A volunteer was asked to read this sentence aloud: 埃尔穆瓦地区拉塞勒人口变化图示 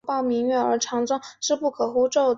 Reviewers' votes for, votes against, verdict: 0, 6, rejected